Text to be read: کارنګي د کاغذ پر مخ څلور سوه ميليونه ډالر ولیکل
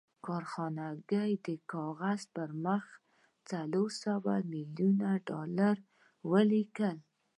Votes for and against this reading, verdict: 2, 0, accepted